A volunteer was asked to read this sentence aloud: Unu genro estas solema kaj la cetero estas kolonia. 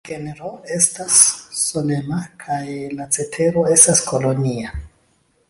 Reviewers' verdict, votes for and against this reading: rejected, 0, 3